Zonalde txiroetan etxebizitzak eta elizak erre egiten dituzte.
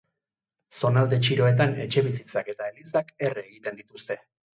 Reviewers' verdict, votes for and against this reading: rejected, 2, 2